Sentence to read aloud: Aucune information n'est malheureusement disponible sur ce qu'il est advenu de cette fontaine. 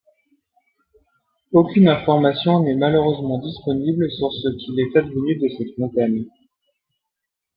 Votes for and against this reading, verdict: 0, 2, rejected